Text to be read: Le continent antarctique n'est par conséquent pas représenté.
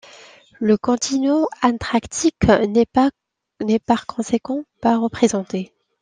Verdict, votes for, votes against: rejected, 1, 2